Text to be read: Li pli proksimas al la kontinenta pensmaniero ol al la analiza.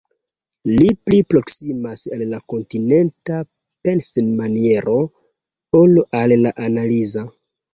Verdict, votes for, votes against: accepted, 2, 0